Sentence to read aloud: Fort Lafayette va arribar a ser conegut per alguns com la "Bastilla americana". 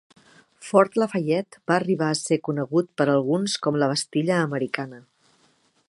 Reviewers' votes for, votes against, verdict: 4, 0, accepted